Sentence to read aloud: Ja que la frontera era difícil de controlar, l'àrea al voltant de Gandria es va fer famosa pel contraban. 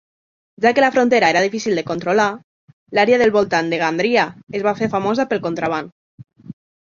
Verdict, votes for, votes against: rejected, 0, 2